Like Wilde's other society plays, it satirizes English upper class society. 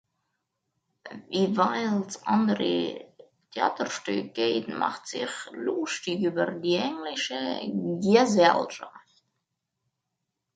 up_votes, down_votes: 0, 2